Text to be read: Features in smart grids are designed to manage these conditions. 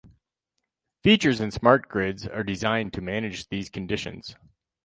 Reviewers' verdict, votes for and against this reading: rejected, 2, 2